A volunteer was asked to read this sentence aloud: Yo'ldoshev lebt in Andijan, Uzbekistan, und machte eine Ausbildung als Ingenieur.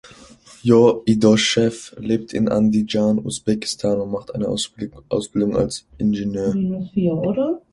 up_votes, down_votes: 0, 2